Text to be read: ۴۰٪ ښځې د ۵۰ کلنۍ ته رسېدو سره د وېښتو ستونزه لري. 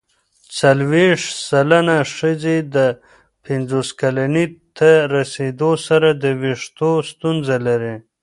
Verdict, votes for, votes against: rejected, 0, 2